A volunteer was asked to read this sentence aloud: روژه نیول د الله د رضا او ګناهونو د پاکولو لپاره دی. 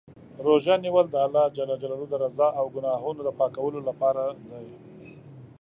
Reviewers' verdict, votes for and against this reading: rejected, 1, 2